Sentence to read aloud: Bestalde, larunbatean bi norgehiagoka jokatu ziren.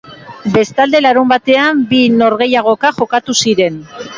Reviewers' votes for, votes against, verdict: 4, 0, accepted